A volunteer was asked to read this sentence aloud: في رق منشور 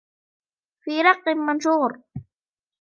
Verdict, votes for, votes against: rejected, 1, 2